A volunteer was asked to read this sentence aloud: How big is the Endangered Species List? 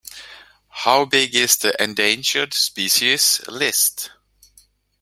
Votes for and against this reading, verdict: 2, 0, accepted